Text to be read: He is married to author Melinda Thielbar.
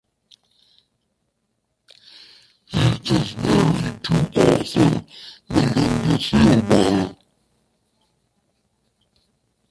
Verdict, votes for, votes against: rejected, 0, 2